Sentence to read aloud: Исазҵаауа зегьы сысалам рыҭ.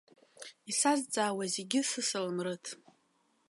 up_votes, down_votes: 2, 0